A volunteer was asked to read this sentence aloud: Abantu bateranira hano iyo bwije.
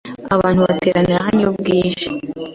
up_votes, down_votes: 2, 0